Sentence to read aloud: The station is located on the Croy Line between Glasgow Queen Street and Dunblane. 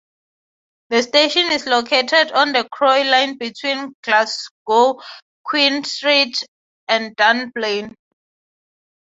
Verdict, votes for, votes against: accepted, 6, 0